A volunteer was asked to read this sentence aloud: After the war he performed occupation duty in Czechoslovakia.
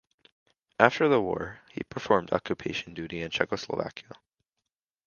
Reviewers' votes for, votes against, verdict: 2, 0, accepted